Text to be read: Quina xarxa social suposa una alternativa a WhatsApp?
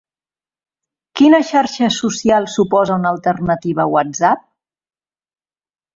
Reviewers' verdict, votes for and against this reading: accepted, 2, 0